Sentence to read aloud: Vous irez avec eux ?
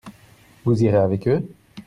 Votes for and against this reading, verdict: 2, 0, accepted